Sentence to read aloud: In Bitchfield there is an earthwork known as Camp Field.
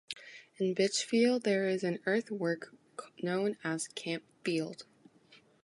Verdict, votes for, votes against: accepted, 2, 0